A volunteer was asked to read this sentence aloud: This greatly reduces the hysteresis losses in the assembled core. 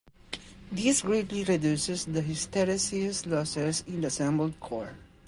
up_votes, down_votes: 0, 2